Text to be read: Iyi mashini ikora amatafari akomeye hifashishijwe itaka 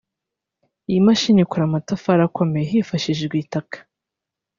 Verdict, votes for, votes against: rejected, 0, 2